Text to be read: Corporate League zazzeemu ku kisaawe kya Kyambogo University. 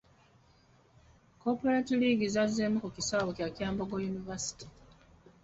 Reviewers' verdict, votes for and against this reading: accepted, 2, 0